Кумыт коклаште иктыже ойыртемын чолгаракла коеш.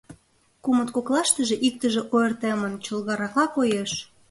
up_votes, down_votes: 1, 2